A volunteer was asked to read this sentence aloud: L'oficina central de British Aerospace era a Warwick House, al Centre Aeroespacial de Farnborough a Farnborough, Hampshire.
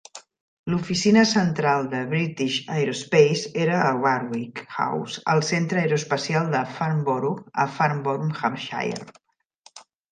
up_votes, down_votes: 2, 0